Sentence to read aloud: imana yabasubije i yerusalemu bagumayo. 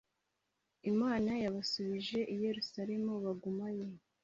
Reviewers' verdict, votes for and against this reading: accepted, 2, 0